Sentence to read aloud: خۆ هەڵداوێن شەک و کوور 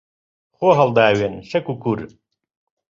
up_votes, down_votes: 3, 0